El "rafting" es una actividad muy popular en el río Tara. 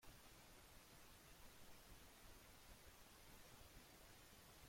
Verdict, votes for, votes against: rejected, 0, 2